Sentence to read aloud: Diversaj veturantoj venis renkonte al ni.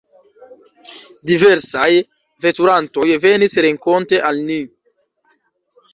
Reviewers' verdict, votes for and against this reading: accepted, 2, 0